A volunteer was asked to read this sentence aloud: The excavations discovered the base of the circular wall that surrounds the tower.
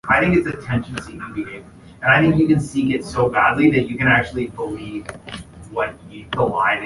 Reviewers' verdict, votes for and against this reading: rejected, 0, 2